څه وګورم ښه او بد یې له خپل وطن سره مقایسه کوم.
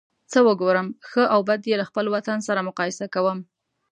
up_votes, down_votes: 2, 0